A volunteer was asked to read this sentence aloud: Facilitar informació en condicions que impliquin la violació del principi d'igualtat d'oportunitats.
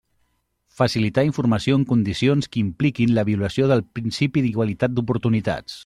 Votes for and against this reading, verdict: 0, 2, rejected